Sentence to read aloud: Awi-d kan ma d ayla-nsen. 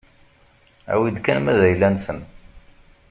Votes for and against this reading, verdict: 2, 0, accepted